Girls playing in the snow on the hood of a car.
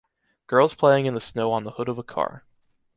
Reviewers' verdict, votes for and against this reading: rejected, 1, 2